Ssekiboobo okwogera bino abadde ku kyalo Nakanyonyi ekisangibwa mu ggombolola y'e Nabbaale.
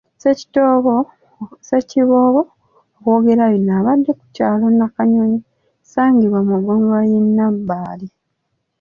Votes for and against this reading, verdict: 2, 0, accepted